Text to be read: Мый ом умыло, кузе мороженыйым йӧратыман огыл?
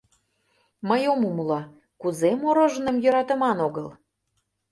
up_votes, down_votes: 2, 0